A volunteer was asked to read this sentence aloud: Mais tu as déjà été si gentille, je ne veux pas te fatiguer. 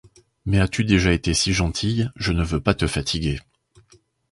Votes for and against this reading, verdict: 1, 2, rejected